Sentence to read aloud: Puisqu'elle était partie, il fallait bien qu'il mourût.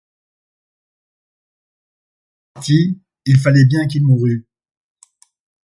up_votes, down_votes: 0, 2